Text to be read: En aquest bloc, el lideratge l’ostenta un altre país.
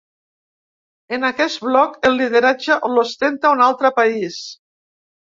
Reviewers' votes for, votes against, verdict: 1, 2, rejected